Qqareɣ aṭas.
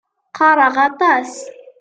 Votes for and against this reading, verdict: 2, 0, accepted